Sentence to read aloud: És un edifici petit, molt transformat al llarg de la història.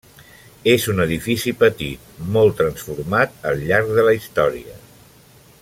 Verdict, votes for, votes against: accepted, 3, 0